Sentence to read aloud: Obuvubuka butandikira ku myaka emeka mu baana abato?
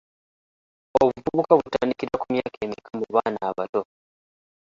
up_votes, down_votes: 0, 3